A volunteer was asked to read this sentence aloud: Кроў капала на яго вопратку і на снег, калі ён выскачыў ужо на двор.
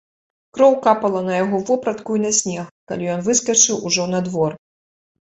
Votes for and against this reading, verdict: 2, 0, accepted